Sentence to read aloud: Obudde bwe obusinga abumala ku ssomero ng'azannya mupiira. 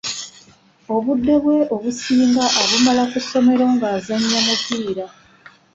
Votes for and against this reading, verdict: 1, 2, rejected